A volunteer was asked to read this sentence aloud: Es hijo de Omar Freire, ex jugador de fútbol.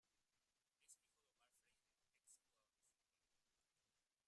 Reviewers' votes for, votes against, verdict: 0, 2, rejected